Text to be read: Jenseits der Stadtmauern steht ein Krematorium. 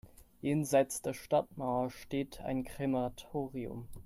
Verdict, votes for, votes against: rejected, 1, 2